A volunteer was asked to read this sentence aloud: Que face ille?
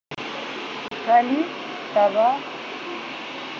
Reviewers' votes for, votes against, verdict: 0, 2, rejected